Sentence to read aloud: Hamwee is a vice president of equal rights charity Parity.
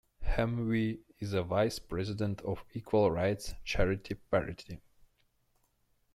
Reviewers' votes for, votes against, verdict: 2, 0, accepted